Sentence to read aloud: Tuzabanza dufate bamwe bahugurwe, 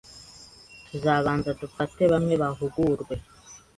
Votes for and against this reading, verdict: 2, 0, accepted